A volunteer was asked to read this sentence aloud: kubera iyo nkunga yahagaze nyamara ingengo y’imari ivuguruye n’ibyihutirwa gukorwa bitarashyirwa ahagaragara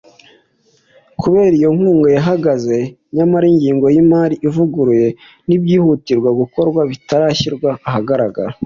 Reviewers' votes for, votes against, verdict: 2, 0, accepted